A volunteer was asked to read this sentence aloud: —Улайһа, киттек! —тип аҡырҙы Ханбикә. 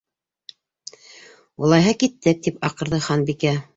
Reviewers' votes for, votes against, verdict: 2, 0, accepted